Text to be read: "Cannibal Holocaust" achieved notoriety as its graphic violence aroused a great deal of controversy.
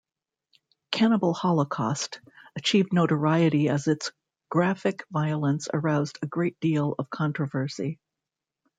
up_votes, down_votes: 0, 2